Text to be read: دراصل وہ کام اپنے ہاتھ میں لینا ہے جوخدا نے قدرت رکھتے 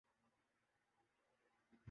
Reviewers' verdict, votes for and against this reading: rejected, 0, 2